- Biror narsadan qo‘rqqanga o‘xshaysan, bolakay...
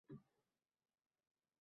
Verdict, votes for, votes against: rejected, 0, 2